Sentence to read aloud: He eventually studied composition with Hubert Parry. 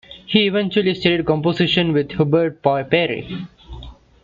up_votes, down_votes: 1, 2